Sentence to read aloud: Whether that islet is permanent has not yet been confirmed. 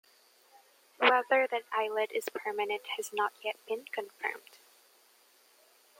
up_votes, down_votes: 2, 1